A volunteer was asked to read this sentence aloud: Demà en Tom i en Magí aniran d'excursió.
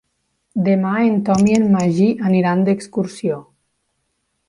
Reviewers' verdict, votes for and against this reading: accepted, 2, 0